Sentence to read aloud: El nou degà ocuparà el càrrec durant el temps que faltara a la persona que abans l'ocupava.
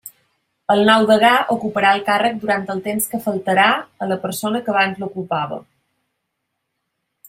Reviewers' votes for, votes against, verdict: 0, 2, rejected